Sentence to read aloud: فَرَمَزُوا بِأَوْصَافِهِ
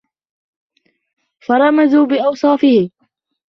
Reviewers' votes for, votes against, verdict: 2, 0, accepted